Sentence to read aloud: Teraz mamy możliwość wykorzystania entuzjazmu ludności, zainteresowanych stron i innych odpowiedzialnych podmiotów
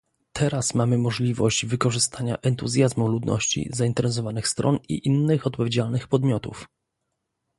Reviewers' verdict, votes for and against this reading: rejected, 1, 2